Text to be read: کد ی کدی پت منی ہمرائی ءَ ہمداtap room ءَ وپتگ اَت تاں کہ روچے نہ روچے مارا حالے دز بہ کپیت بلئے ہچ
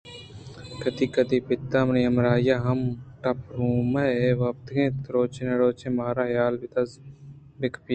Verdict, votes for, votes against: rejected, 0, 2